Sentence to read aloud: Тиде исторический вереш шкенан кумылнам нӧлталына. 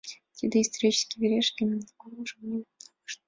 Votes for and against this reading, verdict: 1, 2, rejected